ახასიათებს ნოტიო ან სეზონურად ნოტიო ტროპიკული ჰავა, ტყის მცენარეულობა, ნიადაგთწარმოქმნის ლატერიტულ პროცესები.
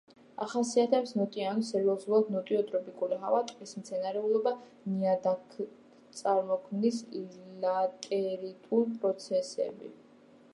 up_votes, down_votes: 1, 2